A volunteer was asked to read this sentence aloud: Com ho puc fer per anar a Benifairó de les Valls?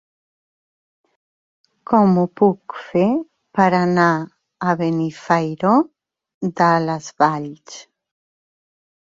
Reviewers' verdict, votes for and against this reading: rejected, 1, 2